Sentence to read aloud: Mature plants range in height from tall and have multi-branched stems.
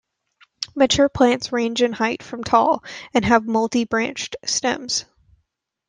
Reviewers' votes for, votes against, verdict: 2, 0, accepted